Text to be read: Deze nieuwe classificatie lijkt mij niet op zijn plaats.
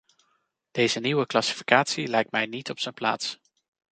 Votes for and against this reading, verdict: 2, 0, accepted